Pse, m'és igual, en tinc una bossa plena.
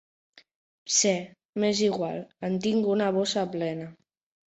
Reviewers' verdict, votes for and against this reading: accepted, 2, 0